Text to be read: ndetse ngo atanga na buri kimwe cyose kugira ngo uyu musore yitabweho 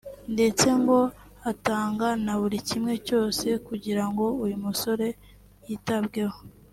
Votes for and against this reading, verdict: 2, 0, accepted